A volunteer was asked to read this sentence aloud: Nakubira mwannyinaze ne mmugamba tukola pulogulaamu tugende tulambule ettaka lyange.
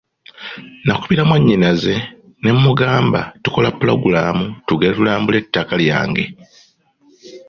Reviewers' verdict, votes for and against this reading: accepted, 2, 0